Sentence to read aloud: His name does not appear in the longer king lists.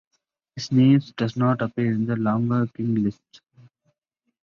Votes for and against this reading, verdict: 1, 2, rejected